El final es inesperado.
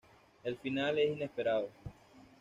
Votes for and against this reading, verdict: 2, 0, accepted